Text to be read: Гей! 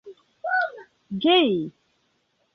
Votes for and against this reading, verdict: 1, 2, rejected